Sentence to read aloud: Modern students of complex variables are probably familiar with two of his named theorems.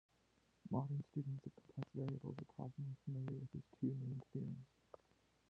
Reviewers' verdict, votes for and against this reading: rejected, 0, 2